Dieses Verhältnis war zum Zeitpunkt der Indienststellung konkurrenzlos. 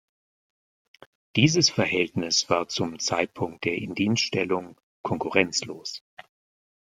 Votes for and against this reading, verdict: 1, 2, rejected